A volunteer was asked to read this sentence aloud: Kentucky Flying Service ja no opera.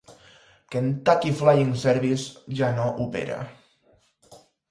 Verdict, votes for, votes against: accepted, 4, 0